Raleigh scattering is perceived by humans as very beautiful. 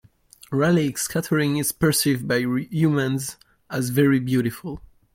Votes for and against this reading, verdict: 0, 2, rejected